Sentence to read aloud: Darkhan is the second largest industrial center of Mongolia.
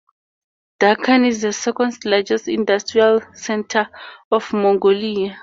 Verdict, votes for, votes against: rejected, 2, 2